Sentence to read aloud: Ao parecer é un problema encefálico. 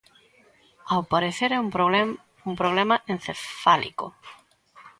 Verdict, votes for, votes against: rejected, 0, 2